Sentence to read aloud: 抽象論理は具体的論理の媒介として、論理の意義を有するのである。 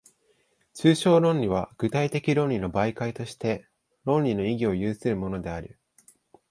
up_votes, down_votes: 2, 0